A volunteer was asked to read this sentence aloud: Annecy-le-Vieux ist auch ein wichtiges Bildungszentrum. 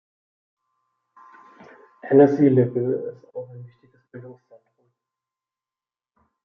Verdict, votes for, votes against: rejected, 1, 2